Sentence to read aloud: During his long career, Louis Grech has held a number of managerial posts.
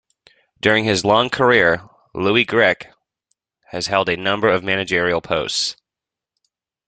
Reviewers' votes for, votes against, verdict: 2, 0, accepted